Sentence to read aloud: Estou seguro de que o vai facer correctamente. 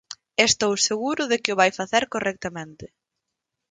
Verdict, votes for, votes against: accepted, 4, 0